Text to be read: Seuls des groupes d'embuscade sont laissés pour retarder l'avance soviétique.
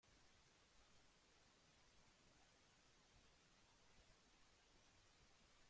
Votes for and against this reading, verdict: 0, 2, rejected